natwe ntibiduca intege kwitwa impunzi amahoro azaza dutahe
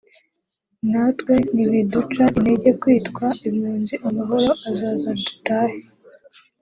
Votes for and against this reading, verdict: 2, 0, accepted